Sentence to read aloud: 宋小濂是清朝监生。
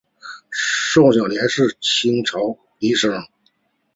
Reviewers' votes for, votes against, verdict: 0, 2, rejected